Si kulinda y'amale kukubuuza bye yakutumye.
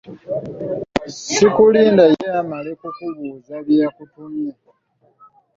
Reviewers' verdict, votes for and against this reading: rejected, 1, 2